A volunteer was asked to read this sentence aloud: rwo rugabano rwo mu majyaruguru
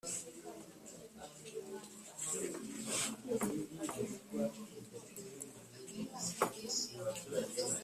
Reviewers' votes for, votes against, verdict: 0, 2, rejected